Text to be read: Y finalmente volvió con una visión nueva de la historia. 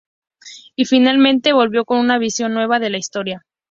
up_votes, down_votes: 2, 2